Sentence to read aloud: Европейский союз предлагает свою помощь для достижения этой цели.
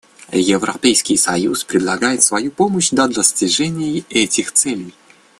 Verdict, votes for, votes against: rejected, 1, 2